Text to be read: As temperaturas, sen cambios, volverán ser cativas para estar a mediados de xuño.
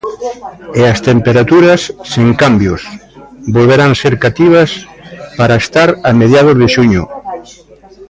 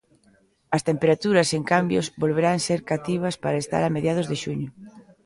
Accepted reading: second